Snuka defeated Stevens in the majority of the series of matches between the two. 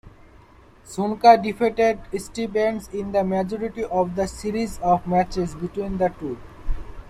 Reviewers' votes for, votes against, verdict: 1, 2, rejected